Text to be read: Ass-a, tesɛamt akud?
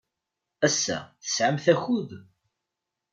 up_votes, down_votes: 2, 0